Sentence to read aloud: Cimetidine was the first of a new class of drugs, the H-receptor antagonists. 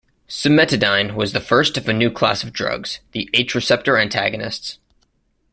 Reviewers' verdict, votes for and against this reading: accepted, 2, 0